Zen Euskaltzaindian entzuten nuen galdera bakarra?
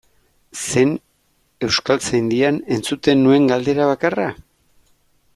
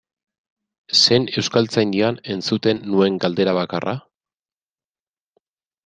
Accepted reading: first